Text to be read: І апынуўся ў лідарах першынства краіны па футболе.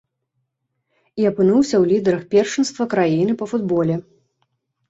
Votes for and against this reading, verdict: 2, 0, accepted